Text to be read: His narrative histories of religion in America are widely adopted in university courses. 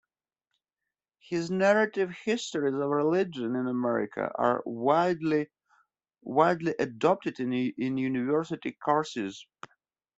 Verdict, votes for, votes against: rejected, 0, 2